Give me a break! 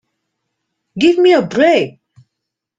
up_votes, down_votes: 2, 0